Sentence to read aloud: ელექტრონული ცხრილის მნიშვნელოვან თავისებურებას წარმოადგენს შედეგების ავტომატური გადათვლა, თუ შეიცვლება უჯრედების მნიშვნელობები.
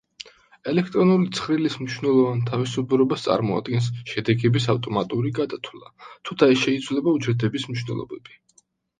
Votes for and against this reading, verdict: 0, 2, rejected